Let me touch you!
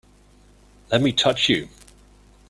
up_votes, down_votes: 2, 0